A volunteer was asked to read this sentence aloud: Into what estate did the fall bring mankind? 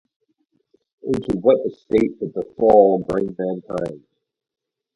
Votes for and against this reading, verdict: 2, 0, accepted